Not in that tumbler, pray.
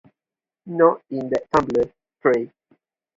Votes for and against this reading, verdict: 2, 0, accepted